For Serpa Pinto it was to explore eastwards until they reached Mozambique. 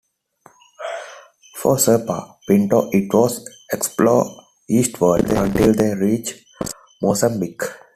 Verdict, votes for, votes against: rejected, 0, 2